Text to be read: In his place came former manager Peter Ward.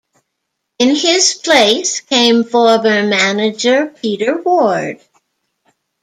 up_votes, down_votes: 2, 1